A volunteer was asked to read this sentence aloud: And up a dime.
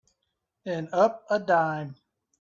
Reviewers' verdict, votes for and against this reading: accepted, 3, 0